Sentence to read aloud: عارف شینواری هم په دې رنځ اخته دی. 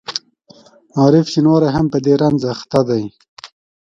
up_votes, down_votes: 2, 0